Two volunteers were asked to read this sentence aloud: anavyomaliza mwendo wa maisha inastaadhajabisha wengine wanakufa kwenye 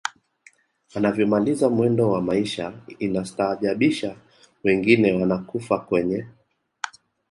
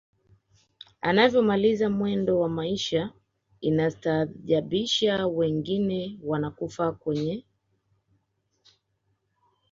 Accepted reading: first